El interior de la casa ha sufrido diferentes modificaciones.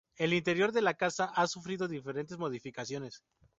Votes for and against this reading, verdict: 4, 0, accepted